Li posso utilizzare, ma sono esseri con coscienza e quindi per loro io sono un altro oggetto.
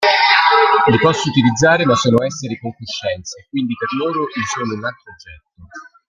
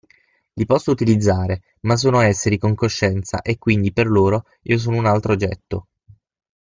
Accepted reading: second